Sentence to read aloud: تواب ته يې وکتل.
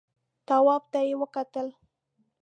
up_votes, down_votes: 2, 0